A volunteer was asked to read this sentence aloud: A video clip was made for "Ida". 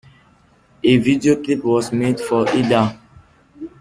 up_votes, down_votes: 2, 0